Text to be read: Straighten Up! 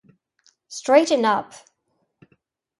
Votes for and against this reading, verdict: 2, 0, accepted